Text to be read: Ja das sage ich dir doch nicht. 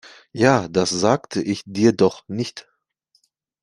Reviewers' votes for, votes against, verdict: 0, 2, rejected